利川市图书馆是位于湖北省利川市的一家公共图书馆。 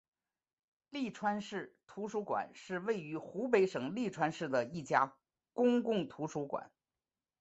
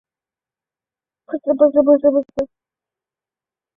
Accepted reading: first